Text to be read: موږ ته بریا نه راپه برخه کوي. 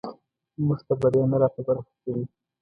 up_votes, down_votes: 0, 2